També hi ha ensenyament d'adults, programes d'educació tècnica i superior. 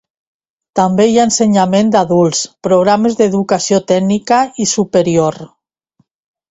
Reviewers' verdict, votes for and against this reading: accepted, 2, 0